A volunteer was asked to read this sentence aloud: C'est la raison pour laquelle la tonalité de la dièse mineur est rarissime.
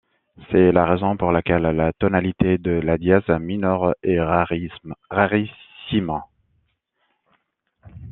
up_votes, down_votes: 0, 2